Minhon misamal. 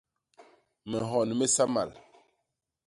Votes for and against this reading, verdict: 2, 0, accepted